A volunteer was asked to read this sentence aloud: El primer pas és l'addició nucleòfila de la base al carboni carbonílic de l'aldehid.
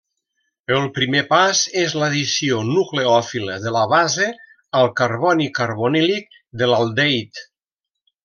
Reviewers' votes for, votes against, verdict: 2, 0, accepted